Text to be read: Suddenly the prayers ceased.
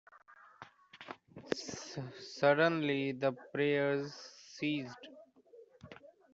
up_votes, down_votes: 1, 2